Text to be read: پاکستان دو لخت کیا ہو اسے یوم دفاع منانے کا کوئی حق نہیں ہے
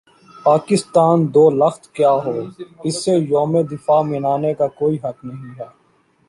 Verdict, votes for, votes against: accepted, 2, 0